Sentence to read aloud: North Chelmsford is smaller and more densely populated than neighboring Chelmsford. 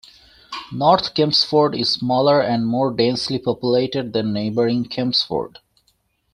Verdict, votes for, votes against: rejected, 1, 2